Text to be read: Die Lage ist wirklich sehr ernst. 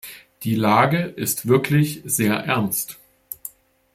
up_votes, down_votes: 2, 0